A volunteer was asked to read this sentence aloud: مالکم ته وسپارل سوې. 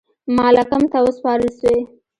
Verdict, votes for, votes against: accepted, 2, 0